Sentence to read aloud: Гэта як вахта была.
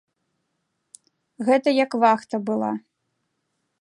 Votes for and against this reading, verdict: 2, 0, accepted